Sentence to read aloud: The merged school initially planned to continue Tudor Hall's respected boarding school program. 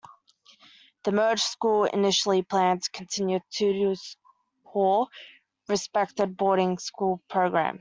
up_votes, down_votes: 2, 1